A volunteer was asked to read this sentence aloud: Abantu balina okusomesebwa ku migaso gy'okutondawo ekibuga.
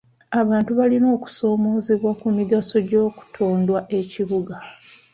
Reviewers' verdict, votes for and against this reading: rejected, 1, 2